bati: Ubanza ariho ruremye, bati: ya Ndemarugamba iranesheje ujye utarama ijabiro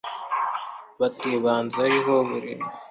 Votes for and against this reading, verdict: 0, 2, rejected